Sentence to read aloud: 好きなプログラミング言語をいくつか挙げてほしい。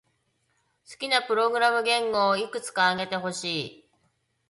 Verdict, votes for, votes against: accepted, 2, 0